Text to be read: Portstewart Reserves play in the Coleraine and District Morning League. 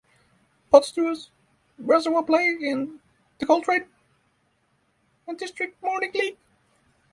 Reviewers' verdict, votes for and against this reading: rejected, 0, 3